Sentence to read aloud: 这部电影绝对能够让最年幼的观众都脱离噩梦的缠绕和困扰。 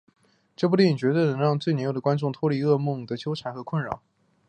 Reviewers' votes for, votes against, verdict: 2, 0, accepted